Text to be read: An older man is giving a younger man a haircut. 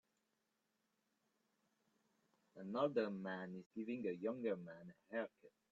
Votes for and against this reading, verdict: 1, 3, rejected